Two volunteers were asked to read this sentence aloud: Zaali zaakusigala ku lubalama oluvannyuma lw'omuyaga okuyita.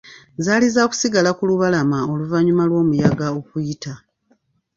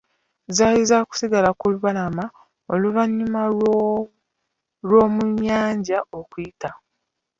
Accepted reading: first